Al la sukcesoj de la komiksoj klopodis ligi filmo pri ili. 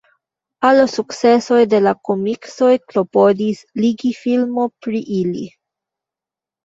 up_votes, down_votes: 1, 2